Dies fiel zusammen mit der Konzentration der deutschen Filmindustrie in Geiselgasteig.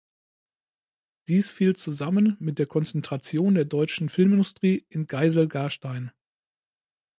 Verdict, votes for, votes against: rejected, 0, 2